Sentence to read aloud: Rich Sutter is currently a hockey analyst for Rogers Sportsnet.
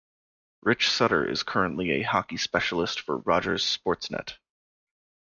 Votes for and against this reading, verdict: 0, 2, rejected